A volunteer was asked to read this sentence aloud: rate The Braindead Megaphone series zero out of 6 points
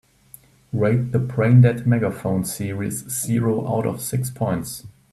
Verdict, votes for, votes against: rejected, 0, 2